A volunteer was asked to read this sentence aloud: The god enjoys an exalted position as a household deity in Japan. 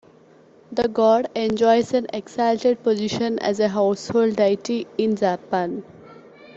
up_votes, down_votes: 2, 0